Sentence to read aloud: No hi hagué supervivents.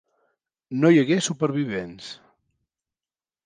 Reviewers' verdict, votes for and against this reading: accepted, 3, 0